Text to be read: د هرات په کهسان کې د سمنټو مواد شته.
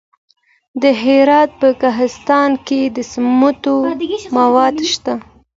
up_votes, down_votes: 2, 0